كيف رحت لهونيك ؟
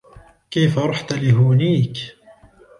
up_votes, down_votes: 1, 2